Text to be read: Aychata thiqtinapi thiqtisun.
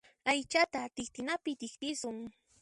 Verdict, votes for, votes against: rejected, 0, 2